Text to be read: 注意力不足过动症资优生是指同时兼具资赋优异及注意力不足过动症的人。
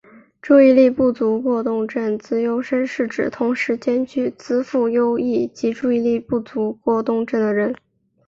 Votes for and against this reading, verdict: 2, 0, accepted